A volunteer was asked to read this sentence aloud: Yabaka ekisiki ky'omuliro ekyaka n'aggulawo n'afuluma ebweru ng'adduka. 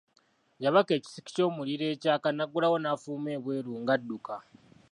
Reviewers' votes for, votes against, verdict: 2, 0, accepted